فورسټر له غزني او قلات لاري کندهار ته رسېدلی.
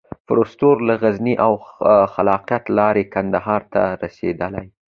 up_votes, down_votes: 2, 0